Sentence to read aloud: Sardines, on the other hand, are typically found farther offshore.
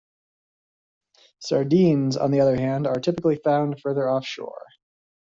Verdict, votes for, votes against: rejected, 1, 2